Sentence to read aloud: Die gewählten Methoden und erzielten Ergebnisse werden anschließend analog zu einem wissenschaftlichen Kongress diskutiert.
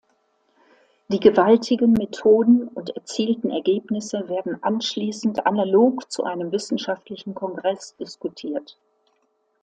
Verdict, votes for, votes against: rejected, 0, 2